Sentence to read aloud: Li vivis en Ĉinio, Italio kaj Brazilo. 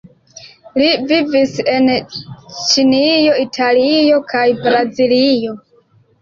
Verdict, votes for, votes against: accepted, 2, 1